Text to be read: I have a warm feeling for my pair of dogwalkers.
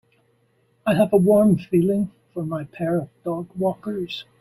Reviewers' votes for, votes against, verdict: 2, 0, accepted